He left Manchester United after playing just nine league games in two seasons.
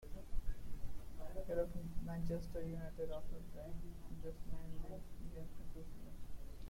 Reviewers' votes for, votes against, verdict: 0, 2, rejected